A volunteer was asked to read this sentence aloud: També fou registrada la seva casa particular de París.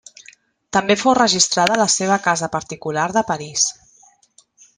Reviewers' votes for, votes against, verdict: 1, 2, rejected